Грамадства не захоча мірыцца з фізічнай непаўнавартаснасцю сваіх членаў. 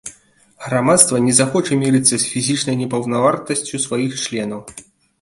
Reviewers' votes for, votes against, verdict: 1, 2, rejected